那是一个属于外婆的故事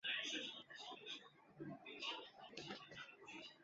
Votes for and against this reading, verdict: 0, 4, rejected